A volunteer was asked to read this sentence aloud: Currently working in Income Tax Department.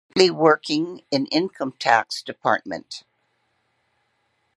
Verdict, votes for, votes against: rejected, 1, 2